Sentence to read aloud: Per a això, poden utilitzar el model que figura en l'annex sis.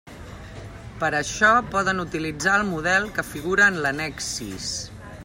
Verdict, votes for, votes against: accepted, 2, 0